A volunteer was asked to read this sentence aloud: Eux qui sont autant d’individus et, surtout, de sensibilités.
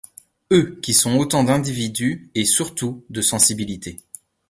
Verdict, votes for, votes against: accepted, 2, 0